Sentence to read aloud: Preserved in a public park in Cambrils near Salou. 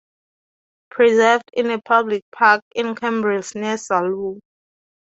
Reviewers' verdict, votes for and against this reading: accepted, 8, 0